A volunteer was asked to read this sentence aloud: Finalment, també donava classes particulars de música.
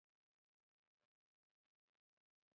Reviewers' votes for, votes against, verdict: 0, 2, rejected